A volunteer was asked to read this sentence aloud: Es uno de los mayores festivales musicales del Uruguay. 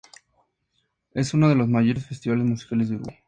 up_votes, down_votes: 0, 2